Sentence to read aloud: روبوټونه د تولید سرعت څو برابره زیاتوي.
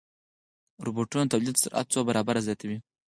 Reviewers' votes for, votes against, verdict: 6, 0, accepted